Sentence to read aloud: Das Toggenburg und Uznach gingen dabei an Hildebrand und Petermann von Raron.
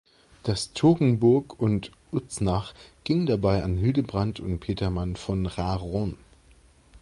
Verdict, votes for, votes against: accepted, 2, 0